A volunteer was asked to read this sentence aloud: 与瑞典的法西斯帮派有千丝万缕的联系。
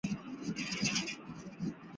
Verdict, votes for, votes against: rejected, 1, 5